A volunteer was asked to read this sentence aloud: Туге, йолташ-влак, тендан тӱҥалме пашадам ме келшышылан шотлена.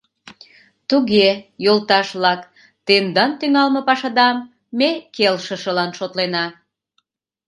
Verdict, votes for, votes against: accepted, 2, 0